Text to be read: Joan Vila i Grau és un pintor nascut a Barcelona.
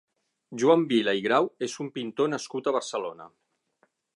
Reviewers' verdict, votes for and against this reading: accepted, 9, 0